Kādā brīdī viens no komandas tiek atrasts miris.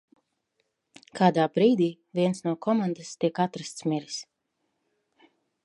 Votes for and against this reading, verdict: 2, 0, accepted